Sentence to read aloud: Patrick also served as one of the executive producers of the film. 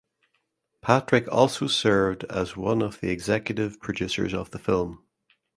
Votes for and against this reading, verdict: 2, 0, accepted